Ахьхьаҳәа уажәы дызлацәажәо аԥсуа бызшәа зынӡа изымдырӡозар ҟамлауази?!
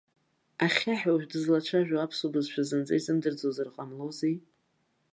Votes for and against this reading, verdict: 0, 2, rejected